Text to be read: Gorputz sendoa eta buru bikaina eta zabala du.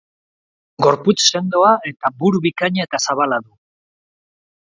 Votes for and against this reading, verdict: 0, 2, rejected